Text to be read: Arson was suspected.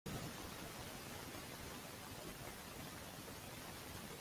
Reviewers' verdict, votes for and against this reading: rejected, 0, 2